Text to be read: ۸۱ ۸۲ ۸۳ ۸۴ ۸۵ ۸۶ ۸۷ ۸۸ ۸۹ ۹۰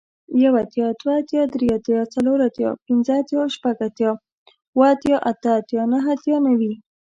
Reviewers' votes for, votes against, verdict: 0, 2, rejected